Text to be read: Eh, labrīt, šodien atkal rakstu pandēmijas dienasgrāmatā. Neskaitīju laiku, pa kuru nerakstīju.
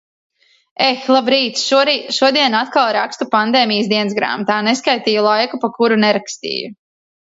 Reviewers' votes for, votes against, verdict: 0, 2, rejected